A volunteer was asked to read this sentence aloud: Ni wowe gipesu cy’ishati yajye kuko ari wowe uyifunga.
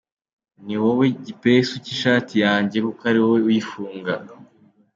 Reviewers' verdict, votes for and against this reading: accepted, 2, 1